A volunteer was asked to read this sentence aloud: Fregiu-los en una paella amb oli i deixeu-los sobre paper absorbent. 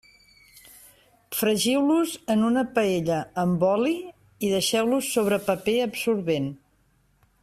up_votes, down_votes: 3, 0